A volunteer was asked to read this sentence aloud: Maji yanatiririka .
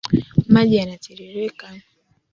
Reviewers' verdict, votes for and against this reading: accepted, 2, 0